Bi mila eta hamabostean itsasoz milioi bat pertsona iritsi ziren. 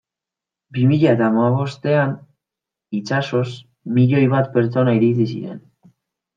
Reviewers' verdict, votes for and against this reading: accepted, 2, 0